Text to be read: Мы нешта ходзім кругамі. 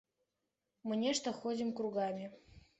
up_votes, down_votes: 2, 0